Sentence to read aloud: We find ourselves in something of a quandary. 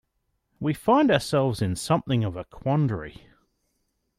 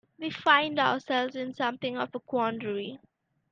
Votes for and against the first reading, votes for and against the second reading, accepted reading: 2, 0, 1, 2, first